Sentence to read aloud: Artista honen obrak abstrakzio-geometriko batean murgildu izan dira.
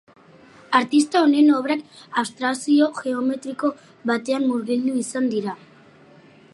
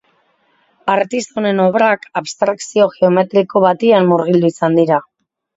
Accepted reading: first